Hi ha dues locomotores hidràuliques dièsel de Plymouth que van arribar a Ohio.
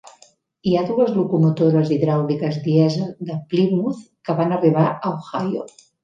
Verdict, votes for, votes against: accepted, 2, 0